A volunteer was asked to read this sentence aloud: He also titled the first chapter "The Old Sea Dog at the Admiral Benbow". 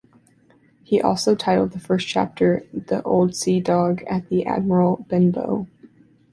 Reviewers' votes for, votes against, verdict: 3, 0, accepted